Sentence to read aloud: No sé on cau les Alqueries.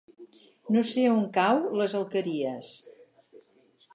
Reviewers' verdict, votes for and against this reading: accepted, 8, 0